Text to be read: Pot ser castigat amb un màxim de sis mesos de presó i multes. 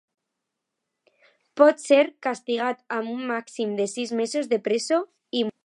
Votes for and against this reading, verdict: 0, 2, rejected